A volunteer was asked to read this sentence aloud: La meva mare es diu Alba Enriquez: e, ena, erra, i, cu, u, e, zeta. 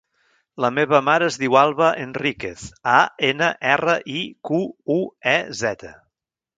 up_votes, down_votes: 0, 2